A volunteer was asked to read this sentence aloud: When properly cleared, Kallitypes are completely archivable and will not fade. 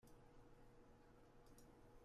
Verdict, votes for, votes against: rejected, 0, 3